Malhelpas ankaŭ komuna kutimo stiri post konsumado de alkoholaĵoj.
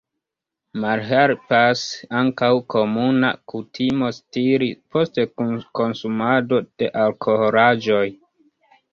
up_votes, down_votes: 0, 2